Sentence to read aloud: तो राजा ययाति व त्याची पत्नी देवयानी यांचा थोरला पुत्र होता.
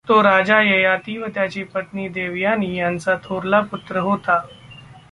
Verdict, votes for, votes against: accepted, 2, 0